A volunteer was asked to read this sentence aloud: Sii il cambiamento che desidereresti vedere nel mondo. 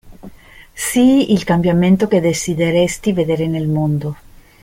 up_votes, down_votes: 1, 2